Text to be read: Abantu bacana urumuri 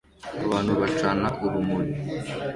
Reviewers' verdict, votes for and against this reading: accepted, 2, 0